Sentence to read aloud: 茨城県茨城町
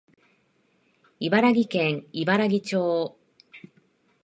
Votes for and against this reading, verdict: 0, 2, rejected